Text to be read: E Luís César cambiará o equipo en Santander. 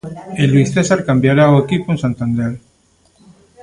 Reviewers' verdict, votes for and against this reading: rejected, 1, 2